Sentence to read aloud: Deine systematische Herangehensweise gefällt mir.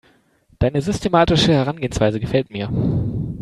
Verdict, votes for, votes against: accepted, 2, 1